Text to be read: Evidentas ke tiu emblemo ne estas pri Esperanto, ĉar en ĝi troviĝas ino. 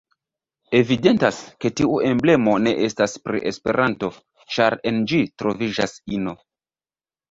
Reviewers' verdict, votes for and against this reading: accepted, 2, 0